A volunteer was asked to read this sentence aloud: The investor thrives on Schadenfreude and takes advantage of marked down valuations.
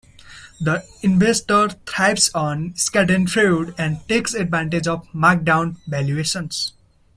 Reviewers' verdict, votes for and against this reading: accepted, 2, 1